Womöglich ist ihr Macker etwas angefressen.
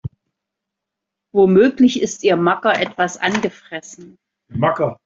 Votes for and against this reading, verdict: 1, 2, rejected